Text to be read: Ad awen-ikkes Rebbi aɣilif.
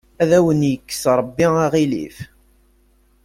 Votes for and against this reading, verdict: 2, 0, accepted